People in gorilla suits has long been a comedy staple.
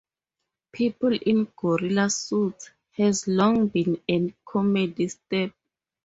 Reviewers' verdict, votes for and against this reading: rejected, 0, 2